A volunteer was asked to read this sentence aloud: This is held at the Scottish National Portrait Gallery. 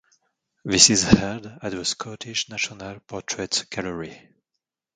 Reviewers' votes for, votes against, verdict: 2, 0, accepted